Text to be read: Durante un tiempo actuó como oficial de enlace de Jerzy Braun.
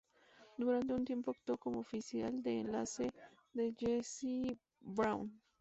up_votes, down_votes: 0, 2